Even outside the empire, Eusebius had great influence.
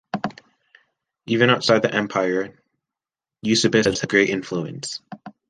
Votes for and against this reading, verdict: 0, 2, rejected